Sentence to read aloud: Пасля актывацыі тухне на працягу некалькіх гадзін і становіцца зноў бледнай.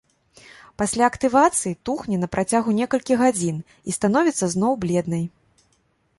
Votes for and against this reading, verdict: 2, 0, accepted